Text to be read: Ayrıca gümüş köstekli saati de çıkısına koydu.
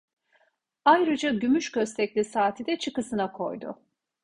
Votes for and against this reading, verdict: 2, 0, accepted